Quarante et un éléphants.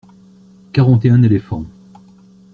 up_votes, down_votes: 2, 0